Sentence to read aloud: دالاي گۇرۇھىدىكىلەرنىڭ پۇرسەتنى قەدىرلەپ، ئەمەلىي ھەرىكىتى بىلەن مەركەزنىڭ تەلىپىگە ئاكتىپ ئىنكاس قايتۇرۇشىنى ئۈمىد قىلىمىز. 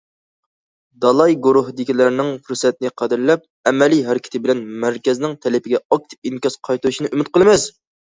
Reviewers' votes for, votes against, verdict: 2, 0, accepted